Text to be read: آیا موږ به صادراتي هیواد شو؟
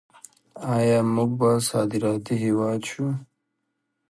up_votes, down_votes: 2, 0